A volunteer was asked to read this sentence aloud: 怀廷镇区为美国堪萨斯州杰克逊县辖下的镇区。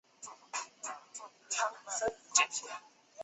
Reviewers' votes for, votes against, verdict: 4, 5, rejected